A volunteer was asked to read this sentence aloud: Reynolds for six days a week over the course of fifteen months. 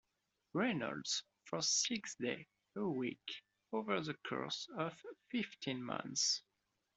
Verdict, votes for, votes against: rejected, 0, 2